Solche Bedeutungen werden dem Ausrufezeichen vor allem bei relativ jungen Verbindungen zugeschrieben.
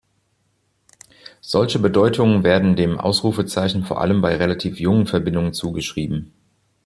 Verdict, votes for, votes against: accepted, 2, 0